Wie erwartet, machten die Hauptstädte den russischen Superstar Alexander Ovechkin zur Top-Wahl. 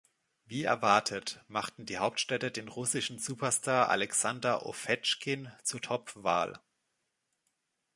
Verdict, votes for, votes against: accepted, 2, 0